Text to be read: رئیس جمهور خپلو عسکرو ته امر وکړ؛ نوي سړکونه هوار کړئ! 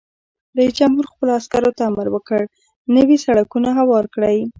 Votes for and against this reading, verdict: 1, 2, rejected